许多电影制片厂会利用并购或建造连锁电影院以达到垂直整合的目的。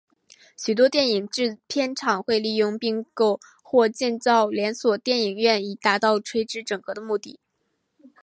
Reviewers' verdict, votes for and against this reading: accepted, 4, 0